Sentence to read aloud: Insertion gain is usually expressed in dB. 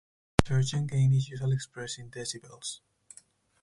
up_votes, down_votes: 0, 4